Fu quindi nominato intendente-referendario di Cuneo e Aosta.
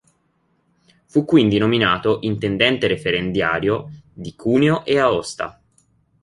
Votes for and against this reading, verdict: 1, 2, rejected